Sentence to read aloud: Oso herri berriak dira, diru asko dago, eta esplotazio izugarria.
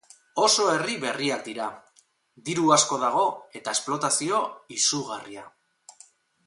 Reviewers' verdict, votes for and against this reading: accepted, 6, 0